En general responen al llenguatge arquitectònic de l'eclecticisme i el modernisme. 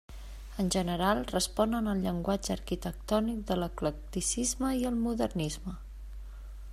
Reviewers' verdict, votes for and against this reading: accepted, 3, 0